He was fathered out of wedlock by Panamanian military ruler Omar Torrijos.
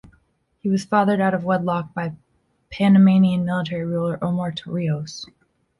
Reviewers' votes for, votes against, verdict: 2, 0, accepted